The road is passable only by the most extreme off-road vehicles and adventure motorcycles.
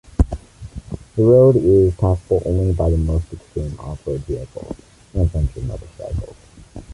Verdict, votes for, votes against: accepted, 2, 0